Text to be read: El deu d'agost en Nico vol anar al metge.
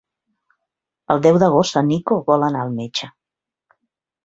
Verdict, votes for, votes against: accepted, 3, 0